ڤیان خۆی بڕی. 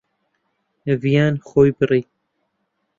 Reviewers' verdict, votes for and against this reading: rejected, 0, 2